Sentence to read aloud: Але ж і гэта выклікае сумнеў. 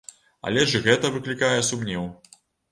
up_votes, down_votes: 2, 0